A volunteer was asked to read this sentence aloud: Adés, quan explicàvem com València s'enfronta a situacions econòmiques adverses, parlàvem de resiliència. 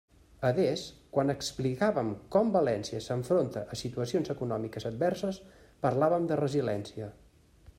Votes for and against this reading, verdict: 1, 2, rejected